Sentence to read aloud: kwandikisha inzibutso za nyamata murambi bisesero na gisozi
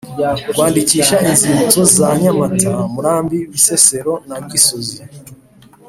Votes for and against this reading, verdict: 3, 0, accepted